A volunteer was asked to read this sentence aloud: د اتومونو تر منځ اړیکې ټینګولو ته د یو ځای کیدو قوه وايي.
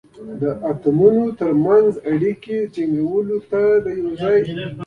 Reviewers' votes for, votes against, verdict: 2, 3, rejected